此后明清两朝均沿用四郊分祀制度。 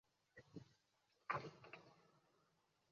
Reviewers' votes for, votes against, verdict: 2, 3, rejected